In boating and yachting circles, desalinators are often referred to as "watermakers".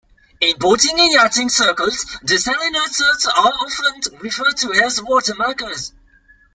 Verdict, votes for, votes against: rejected, 1, 2